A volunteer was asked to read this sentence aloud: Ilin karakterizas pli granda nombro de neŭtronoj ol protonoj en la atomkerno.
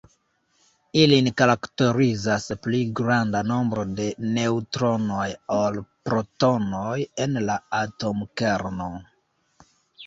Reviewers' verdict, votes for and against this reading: rejected, 1, 2